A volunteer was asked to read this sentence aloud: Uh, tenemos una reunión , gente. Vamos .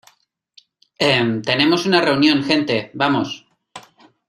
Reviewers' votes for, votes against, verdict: 0, 2, rejected